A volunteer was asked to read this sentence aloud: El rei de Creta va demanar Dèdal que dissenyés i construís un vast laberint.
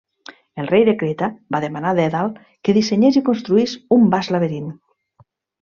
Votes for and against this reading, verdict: 2, 0, accepted